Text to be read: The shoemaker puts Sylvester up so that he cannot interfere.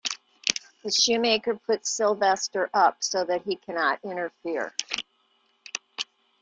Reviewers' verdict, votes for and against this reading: accepted, 2, 1